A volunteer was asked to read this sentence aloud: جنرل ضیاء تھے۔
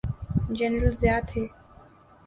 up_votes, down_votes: 4, 0